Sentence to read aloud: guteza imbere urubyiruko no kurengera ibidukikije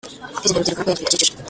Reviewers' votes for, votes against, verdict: 0, 2, rejected